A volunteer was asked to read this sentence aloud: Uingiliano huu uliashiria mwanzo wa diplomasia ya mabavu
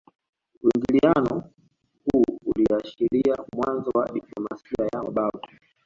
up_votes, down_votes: 2, 0